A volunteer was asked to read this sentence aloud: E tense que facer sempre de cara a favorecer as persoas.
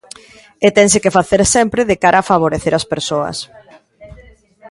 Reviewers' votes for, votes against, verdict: 1, 2, rejected